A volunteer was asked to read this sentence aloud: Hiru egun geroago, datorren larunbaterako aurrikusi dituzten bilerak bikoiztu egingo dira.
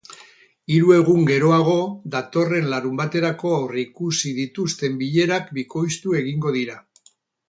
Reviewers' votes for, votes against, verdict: 0, 2, rejected